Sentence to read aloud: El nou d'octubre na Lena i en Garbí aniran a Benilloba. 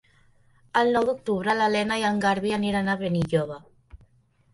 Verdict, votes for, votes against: rejected, 1, 2